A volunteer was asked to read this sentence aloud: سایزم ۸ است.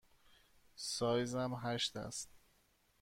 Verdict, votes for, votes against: rejected, 0, 2